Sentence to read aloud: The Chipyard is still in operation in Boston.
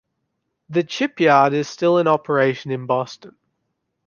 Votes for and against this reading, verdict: 2, 0, accepted